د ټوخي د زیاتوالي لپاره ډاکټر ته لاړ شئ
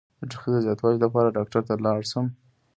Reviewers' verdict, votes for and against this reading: rejected, 1, 2